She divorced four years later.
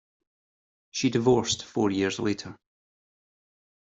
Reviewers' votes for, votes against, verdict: 2, 0, accepted